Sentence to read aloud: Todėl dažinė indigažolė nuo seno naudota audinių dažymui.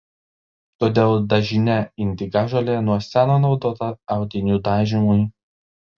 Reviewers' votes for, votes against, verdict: 0, 2, rejected